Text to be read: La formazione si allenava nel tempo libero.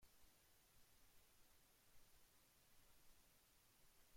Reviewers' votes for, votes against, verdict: 0, 2, rejected